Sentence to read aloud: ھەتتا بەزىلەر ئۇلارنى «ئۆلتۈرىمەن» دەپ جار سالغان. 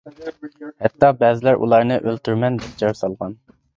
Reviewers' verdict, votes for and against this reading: rejected, 1, 2